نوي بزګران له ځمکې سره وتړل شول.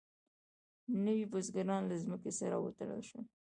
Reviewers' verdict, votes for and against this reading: accepted, 2, 0